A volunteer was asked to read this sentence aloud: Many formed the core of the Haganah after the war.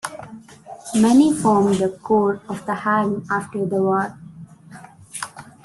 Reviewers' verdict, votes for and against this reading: rejected, 0, 2